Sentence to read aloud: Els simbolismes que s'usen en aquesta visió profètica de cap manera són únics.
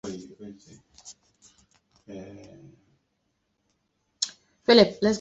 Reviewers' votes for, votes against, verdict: 0, 2, rejected